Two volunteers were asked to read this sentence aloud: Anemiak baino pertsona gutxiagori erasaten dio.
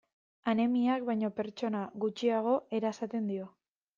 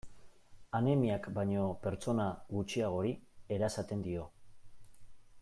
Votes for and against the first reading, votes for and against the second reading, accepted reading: 0, 2, 2, 0, second